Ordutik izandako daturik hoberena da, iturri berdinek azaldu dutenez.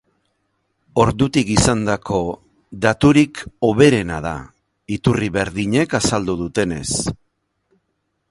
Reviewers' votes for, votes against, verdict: 2, 0, accepted